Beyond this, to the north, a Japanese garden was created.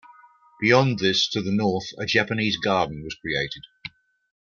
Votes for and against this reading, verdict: 2, 1, accepted